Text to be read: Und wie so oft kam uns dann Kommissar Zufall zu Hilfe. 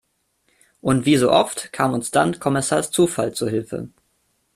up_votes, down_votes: 2, 0